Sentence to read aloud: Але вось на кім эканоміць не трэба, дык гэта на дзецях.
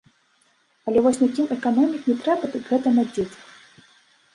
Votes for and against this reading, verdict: 1, 2, rejected